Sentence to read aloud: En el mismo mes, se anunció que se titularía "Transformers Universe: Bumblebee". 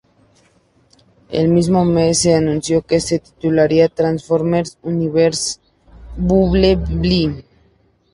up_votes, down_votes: 0, 2